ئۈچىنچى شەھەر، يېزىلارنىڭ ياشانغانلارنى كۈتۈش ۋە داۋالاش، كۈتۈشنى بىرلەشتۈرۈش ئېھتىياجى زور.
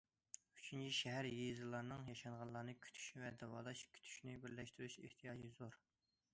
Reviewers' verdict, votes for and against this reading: accepted, 2, 0